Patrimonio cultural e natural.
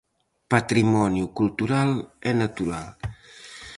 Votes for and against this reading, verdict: 4, 0, accepted